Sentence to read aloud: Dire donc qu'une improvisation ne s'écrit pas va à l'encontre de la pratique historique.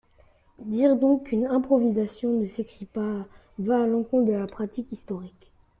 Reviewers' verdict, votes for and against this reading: accepted, 2, 1